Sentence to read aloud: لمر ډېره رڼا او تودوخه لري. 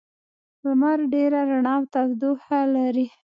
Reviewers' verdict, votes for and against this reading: accepted, 2, 0